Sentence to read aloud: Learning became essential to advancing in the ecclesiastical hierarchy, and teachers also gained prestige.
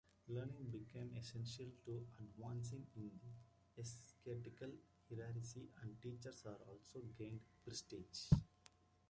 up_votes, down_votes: 0, 2